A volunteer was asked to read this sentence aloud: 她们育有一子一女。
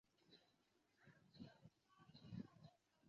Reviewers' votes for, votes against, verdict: 0, 3, rejected